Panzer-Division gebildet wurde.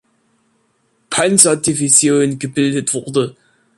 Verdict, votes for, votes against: accepted, 2, 0